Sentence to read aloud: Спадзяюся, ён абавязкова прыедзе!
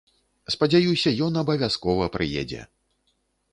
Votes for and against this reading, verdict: 2, 0, accepted